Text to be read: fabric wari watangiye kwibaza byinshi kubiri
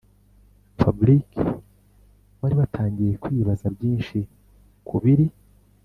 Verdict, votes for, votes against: accepted, 2, 0